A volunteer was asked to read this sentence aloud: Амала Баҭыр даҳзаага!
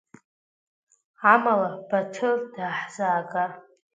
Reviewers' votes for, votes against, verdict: 1, 2, rejected